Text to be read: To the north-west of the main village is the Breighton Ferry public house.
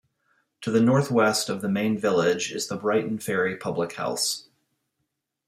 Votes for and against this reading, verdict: 2, 0, accepted